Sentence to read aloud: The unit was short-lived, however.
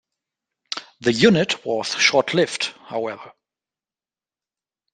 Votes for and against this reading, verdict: 2, 0, accepted